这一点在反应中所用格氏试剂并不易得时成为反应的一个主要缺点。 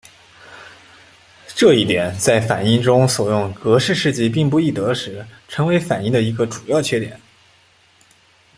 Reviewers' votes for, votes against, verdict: 2, 0, accepted